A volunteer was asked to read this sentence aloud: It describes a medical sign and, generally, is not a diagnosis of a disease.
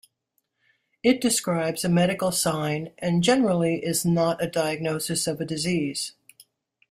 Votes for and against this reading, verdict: 2, 0, accepted